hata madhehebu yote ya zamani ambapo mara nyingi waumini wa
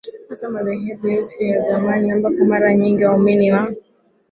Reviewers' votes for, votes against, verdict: 2, 0, accepted